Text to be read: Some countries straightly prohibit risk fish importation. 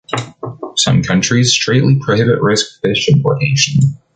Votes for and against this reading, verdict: 2, 0, accepted